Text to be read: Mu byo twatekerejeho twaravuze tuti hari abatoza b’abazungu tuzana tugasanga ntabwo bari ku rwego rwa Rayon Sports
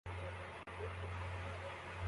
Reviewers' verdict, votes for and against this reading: rejected, 0, 2